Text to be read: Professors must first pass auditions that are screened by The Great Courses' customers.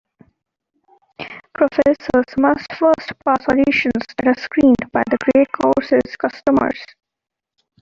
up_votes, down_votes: 0, 2